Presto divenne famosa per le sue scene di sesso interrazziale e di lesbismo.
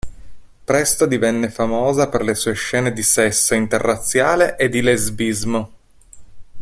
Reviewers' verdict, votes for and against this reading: accepted, 2, 0